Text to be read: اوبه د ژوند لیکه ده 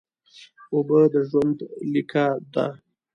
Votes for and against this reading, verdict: 2, 0, accepted